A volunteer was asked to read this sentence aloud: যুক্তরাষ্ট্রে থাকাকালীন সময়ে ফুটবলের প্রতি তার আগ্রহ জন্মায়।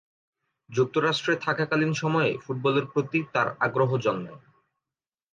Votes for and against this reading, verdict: 2, 0, accepted